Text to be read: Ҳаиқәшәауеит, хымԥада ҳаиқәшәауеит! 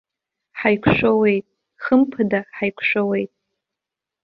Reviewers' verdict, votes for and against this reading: accepted, 2, 0